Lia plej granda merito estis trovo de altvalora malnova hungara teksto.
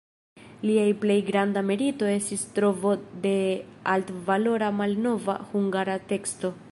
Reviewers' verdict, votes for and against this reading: rejected, 0, 2